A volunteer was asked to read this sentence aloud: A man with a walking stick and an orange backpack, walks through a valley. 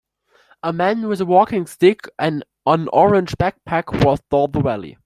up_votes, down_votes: 0, 2